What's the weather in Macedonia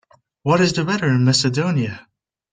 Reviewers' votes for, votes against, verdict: 0, 2, rejected